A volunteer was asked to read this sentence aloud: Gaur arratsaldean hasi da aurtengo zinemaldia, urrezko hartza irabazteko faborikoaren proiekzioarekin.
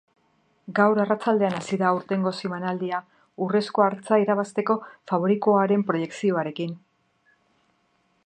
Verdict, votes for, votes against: rejected, 1, 2